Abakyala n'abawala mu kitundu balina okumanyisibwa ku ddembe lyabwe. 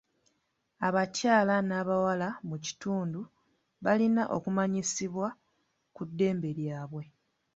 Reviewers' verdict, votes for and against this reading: accepted, 3, 0